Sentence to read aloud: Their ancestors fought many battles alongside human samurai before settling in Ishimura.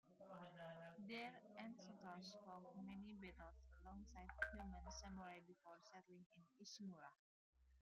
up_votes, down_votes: 1, 2